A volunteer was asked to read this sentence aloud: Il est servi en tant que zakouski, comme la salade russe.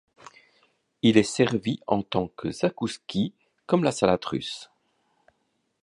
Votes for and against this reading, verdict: 2, 0, accepted